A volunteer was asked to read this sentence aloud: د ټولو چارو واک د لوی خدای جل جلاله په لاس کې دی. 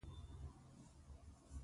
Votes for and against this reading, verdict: 0, 2, rejected